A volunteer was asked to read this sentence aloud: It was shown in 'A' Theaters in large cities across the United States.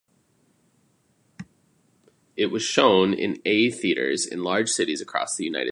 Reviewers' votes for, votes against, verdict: 0, 2, rejected